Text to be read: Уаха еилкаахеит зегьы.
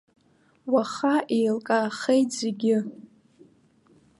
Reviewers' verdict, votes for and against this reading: accepted, 2, 1